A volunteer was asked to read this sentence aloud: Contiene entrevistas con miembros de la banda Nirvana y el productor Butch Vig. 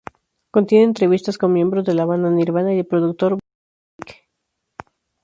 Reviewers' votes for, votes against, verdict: 0, 4, rejected